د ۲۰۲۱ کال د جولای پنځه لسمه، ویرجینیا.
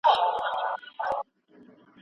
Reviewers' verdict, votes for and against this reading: rejected, 0, 2